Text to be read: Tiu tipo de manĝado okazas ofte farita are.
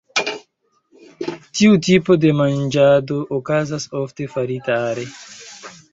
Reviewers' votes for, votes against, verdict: 2, 0, accepted